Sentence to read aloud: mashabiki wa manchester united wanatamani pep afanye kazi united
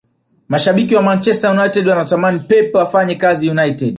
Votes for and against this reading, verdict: 0, 2, rejected